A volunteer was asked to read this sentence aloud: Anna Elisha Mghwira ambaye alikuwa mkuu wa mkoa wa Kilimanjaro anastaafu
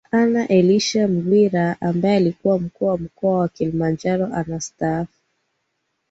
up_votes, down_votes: 11, 3